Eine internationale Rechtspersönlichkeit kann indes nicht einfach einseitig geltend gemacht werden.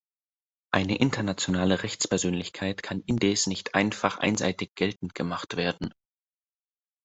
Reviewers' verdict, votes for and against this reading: accepted, 2, 0